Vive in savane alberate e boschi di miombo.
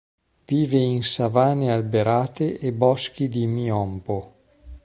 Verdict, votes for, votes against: rejected, 0, 2